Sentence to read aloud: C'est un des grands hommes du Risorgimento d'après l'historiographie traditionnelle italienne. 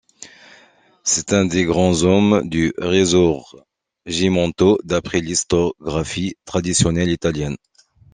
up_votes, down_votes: 1, 2